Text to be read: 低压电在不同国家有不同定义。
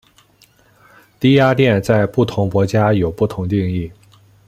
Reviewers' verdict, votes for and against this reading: accepted, 2, 0